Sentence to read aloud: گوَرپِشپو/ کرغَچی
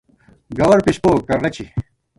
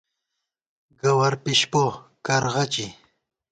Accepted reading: second